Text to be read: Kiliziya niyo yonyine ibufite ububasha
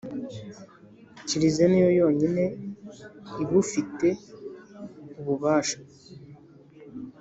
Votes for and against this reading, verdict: 3, 0, accepted